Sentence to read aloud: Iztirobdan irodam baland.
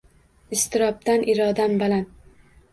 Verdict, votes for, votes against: accepted, 2, 0